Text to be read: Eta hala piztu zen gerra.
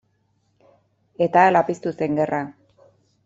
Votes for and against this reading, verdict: 2, 0, accepted